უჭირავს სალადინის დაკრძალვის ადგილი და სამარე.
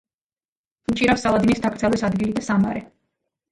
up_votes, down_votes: 1, 2